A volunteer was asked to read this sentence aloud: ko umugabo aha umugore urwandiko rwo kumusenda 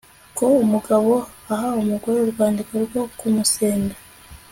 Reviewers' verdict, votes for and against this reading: accepted, 2, 0